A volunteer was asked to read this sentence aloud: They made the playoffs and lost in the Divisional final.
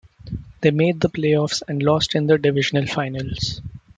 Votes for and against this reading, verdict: 2, 1, accepted